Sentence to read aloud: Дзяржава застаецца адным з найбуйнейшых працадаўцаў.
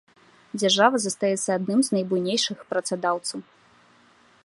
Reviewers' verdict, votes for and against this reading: accepted, 2, 0